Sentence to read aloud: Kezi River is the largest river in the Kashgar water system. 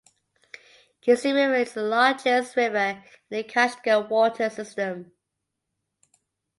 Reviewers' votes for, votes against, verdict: 2, 1, accepted